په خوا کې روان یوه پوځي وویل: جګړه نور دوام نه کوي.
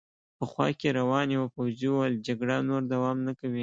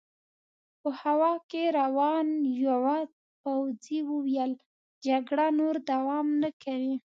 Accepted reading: first